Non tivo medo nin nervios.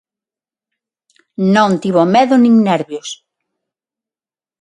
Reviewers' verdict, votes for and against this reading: accepted, 9, 0